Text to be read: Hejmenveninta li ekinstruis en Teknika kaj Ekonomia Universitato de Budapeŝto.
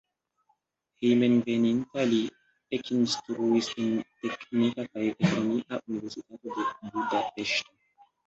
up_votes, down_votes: 1, 2